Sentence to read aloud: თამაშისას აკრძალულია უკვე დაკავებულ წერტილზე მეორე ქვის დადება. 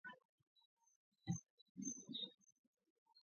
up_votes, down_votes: 0, 2